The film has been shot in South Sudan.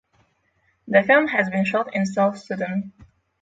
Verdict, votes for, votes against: rejected, 3, 3